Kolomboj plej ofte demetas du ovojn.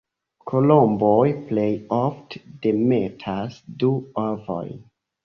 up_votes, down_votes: 1, 2